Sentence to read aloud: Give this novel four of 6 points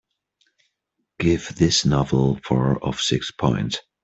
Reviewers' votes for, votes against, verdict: 0, 2, rejected